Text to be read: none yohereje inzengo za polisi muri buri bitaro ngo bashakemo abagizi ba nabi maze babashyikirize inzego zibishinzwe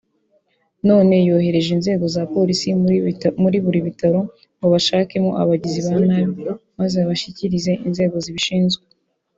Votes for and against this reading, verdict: 0, 2, rejected